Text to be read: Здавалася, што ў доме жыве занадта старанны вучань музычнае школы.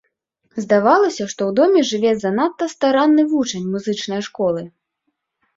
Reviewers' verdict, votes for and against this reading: accepted, 2, 0